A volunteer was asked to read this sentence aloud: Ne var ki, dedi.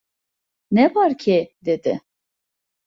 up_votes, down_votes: 1, 2